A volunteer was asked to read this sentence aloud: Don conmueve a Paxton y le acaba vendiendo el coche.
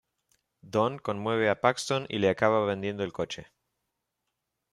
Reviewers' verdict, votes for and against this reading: accepted, 2, 0